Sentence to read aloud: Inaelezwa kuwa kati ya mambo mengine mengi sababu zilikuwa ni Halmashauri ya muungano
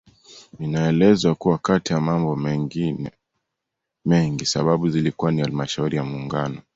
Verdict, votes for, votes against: accepted, 2, 0